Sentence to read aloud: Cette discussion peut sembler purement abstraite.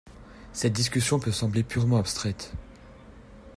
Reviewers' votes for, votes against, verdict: 2, 0, accepted